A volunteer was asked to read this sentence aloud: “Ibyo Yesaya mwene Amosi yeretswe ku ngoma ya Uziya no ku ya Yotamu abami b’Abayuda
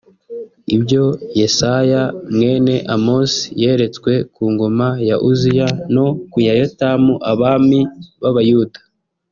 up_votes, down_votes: 0, 2